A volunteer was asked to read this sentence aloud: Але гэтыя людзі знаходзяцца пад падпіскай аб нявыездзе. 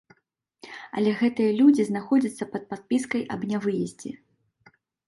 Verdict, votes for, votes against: accepted, 2, 0